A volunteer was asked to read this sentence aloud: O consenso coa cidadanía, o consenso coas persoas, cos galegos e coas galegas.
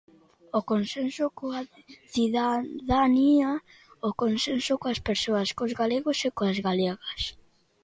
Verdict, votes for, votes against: accepted, 2, 0